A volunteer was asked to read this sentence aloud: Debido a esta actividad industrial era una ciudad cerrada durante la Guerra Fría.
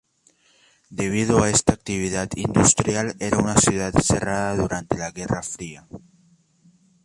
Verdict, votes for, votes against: accepted, 2, 0